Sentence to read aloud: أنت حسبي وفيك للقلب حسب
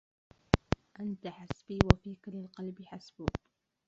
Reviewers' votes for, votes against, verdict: 0, 2, rejected